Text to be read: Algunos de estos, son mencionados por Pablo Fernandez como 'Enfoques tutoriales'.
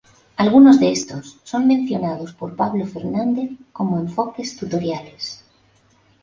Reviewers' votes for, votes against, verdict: 2, 0, accepted